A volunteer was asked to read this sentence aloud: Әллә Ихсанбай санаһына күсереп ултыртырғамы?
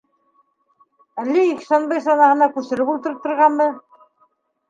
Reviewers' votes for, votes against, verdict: 2, 0, accepted